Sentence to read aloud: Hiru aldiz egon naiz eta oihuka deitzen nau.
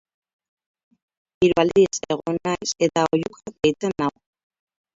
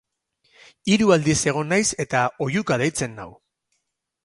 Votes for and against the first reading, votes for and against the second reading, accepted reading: 0, 4, 2, 0, second